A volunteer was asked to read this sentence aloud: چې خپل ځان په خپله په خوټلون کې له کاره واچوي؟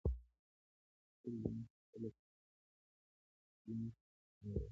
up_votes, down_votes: 0, 2